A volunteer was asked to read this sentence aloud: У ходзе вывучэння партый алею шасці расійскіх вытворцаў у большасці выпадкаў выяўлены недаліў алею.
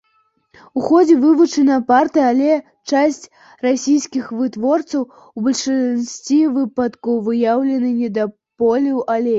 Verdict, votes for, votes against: rejected, 0, 2